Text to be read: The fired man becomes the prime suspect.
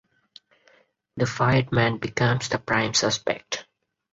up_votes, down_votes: 4, 0